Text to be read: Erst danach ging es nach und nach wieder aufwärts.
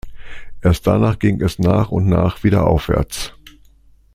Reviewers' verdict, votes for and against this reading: accepted, 2, 0